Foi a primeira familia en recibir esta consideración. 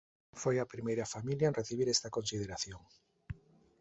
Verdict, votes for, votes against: accepted, 2, 0